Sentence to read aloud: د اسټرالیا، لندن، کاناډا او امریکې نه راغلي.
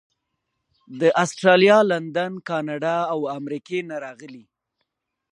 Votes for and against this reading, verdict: 2, 0, accepted